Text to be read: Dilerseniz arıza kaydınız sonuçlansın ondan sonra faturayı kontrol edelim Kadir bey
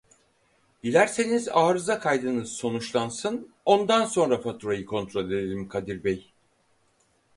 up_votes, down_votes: 4, 0